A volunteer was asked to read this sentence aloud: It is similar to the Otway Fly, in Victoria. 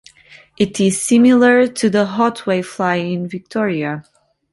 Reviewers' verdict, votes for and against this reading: rejected, 0, 2